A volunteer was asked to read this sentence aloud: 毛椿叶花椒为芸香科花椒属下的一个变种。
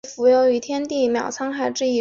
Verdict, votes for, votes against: rejected, 0, 5